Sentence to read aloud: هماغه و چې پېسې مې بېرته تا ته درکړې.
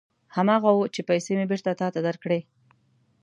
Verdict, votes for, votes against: accepted, 2, 0